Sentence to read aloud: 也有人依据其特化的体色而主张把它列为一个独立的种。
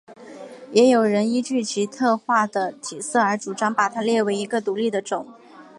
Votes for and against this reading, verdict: 4, 0, accepted